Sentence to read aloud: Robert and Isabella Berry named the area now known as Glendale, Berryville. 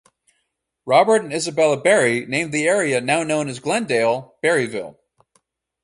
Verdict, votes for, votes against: accepted, 4, 0